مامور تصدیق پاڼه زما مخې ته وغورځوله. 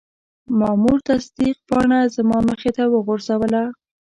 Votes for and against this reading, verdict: 1, 2, rejected